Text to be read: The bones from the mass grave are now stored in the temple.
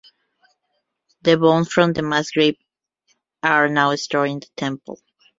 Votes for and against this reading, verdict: 2, 1, accepted